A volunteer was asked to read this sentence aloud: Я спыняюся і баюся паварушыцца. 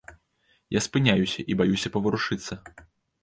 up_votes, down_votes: 2, 0